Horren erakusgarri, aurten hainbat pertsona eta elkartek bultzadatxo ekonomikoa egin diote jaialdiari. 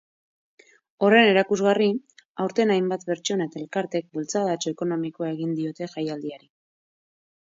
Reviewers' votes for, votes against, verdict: 2, 0, accepted